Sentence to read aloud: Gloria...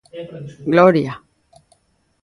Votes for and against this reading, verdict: 0, 2, rejected